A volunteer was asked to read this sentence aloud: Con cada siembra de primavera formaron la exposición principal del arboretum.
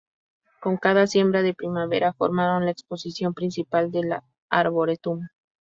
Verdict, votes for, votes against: rejected, 0, 2